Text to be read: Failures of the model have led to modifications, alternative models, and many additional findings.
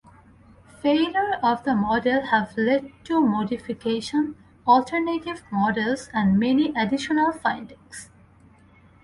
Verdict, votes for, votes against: rejected, 0, 2